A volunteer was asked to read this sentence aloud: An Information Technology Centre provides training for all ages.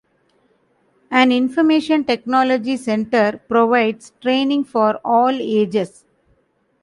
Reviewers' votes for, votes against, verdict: 2, 0, accepted